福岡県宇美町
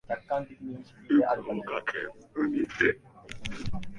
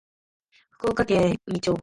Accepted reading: second